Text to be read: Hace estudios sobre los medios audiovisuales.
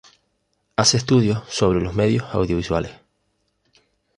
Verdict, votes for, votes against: accepted, 2, 0